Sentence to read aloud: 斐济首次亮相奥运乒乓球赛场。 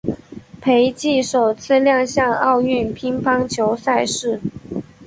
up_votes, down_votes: 2, 0